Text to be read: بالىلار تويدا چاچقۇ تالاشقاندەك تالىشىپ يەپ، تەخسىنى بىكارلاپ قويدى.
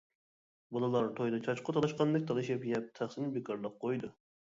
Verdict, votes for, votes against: rejected, 1, 2